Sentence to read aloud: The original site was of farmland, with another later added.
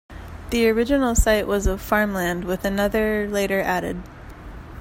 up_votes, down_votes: 2, 1